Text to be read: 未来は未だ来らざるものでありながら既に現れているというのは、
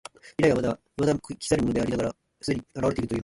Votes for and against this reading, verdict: 0, 3, rejected